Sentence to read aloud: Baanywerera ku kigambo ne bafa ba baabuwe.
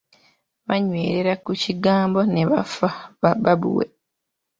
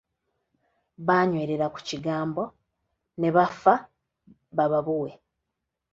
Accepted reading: first